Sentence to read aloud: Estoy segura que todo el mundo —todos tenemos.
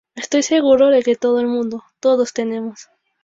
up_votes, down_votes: 0, 2